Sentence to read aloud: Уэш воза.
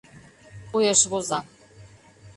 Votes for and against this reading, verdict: 2, 0, accepted